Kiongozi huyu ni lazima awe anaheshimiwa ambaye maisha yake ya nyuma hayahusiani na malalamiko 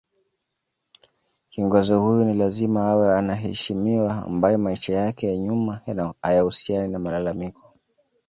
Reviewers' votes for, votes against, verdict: 1, 2, rejected